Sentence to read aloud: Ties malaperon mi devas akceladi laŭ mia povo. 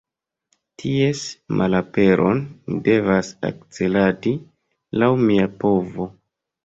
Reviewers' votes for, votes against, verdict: 2, 0, accepted